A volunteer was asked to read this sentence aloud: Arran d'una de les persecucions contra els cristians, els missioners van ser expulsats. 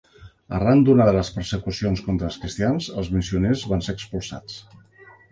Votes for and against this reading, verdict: 4, 0, accepted